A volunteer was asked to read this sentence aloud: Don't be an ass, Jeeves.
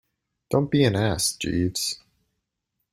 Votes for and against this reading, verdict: 2, 0, accepted